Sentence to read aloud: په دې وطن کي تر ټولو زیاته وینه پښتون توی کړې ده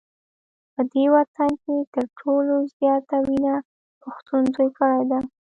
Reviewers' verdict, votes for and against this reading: accepted, 2, 0